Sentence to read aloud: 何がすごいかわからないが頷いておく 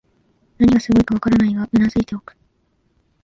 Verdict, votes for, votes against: rejected, 1, 2